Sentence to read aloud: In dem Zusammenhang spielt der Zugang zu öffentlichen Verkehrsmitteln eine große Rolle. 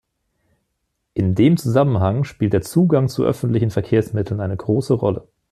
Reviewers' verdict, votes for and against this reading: accepted, 2, 0